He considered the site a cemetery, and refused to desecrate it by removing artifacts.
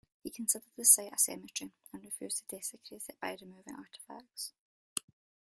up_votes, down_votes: 1, 2